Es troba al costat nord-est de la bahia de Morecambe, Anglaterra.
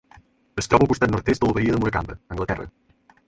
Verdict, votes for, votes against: rejected, 0, 4